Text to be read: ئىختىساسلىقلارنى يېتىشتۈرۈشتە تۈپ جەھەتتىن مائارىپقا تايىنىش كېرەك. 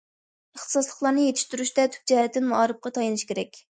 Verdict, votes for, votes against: accepted, 2, 0